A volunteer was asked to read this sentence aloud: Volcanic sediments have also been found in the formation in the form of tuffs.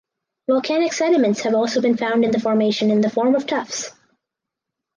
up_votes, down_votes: 4, 0